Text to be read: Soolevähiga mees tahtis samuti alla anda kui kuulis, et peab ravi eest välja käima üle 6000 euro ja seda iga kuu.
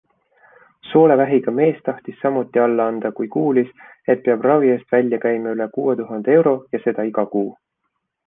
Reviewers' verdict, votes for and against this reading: rejected, 0, 2